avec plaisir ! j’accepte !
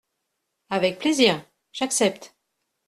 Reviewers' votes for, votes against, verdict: 2, 0, accepted